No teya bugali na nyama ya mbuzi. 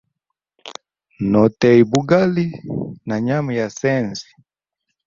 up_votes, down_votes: 1, 2